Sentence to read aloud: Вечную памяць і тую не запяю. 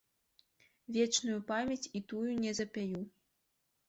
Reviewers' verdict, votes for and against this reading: accepted, 2, 0